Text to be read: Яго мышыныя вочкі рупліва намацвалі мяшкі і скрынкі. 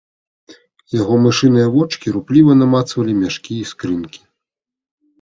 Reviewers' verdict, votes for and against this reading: accepted, 2, 0